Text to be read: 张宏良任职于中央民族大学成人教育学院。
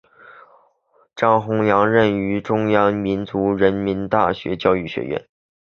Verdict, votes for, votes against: accepted, 3, 0